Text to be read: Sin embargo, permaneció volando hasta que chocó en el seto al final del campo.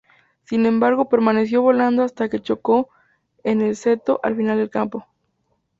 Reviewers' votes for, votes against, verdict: 2, 0, accepted